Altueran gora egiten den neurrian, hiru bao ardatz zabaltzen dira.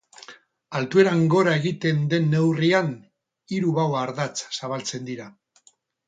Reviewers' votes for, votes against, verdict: 4, 0, accepted